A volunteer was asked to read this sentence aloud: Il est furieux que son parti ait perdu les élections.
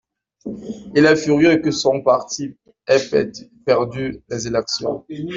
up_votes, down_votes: 2, 1